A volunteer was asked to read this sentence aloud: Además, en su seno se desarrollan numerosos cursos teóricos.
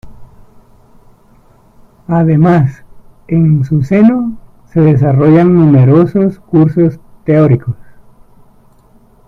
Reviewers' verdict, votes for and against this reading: rejected, 1, 2